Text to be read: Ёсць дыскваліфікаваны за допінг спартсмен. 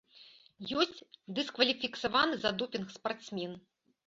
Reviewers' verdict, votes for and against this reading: rejected, 0, 2